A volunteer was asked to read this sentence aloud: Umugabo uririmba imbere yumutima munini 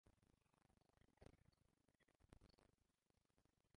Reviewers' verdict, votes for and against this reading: rejected, 0, 2